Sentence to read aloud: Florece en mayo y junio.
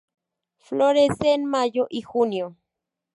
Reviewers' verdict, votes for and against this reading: accepted, 4, 0